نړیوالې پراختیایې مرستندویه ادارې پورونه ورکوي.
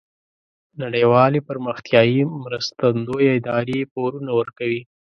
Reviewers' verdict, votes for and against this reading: accepted, 2, 0